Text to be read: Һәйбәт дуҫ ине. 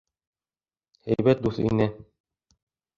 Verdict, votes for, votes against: accepted, 2, 1